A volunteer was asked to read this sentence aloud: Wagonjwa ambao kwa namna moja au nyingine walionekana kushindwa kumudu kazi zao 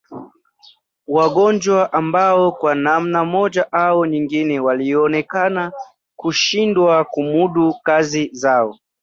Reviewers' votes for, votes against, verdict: 0, 2, rejected